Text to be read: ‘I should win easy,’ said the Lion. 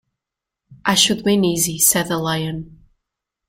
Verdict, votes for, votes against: accepted, 2, 0